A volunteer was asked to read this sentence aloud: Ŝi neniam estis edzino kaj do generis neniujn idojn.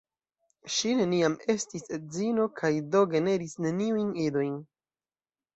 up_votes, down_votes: 2, 0